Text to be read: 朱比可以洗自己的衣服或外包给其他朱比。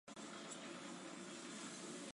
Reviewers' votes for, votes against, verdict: 1, 3, rejected